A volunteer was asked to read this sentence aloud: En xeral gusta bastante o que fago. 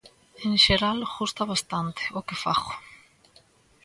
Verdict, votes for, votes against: accepted, 2, 0